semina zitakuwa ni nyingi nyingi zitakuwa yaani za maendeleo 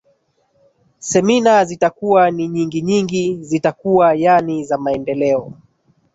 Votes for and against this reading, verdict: 1, 2, rejected